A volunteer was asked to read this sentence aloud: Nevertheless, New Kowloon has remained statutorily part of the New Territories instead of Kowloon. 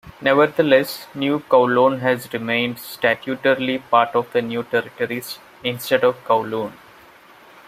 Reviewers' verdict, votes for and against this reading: accepted, 2, 0